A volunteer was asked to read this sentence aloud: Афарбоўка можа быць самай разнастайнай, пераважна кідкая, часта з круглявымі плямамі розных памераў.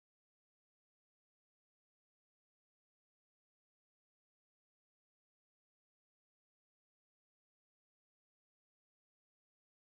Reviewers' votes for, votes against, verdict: 0, 2, rejected